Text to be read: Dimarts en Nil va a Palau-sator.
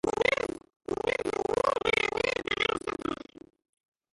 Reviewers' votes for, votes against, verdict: 0, 3, rejected